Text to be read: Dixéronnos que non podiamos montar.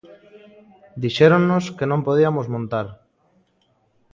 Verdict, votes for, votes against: rejected, 0, 2